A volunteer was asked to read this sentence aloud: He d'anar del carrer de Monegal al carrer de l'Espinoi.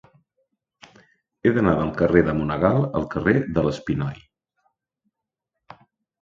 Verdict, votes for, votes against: accepted, 2, 0